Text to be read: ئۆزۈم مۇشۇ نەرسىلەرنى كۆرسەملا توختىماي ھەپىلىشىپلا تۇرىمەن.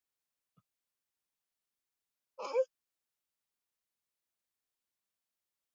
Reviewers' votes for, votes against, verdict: 0, 2, rejected